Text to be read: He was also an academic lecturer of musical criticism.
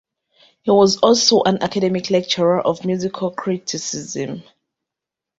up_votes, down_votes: 2, 0